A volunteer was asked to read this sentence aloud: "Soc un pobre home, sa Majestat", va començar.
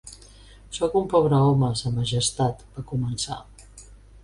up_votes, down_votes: 2, 0